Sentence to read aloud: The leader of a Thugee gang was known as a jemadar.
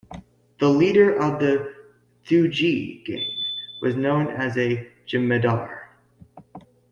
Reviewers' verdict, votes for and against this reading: rejected, 1, 2